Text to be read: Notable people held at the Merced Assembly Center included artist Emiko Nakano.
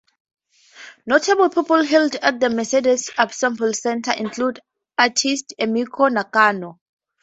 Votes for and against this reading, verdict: 2, 4, rejected